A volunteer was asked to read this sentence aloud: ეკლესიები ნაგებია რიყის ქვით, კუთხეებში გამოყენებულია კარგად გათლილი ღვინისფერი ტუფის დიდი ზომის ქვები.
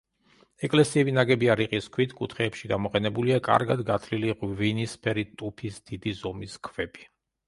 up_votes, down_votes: 2, 0